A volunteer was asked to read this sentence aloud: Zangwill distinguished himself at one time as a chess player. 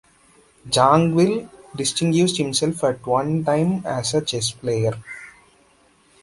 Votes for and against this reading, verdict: 2, 0, accepted